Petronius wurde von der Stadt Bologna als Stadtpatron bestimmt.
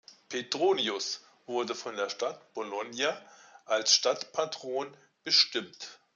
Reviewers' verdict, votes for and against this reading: accepted, 2, 0